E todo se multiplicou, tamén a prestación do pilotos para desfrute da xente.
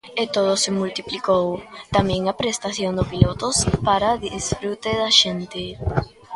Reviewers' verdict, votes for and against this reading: rejected, 1, 2